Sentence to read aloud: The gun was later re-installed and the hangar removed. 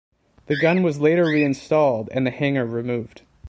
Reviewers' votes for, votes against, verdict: 2, 1, accepted